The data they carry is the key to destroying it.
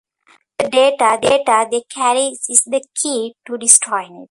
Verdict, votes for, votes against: rejected, 0, 2